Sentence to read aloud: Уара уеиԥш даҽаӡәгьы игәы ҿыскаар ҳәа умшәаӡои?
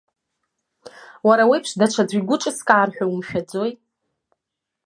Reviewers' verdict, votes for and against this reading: rejected, 1, 2